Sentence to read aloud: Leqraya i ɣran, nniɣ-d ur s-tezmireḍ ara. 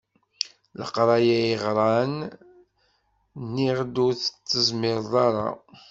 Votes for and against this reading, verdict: 1, 2, rejected